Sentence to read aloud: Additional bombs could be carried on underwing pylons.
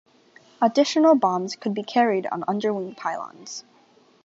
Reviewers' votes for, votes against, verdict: 2, 0, accepted